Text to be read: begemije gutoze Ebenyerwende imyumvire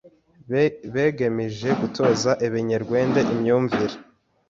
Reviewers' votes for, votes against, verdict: 1, 2, rejected